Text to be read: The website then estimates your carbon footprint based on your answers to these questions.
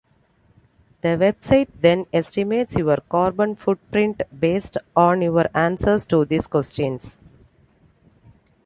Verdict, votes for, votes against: accepted, 2, 0